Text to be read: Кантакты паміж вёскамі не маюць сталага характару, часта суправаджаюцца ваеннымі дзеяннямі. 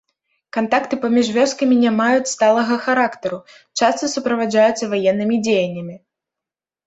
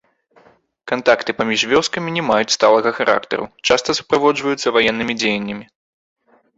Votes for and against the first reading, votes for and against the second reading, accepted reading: 2, 0, 1, 2, first